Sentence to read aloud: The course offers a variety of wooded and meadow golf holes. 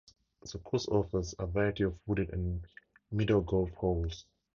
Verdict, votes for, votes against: accepted, 4, 0